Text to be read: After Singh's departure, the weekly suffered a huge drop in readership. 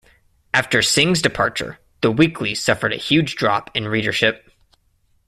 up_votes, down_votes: 2, 0